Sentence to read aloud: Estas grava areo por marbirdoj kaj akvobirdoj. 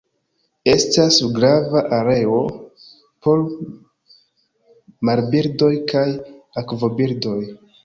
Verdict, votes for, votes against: accepted, 2, 1